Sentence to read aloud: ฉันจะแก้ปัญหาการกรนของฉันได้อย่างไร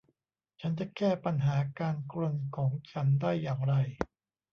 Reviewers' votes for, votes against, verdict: 0, 2, rejected